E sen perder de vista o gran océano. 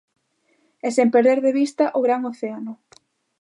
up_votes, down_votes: 2, 0